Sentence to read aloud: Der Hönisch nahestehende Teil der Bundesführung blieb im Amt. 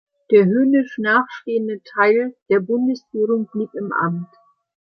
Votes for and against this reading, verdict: 0, 2, rejected